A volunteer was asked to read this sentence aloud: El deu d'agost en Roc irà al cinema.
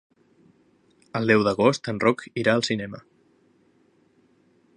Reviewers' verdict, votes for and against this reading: accepted, 4, 0